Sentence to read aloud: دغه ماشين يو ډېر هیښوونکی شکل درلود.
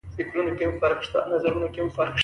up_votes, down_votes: 1, 2